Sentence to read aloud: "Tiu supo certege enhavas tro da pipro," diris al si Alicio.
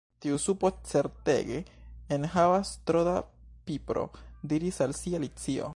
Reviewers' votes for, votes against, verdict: 2, 0, accepted